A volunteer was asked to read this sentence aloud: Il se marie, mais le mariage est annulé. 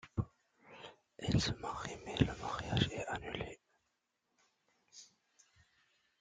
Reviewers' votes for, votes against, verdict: 1, 2, rejected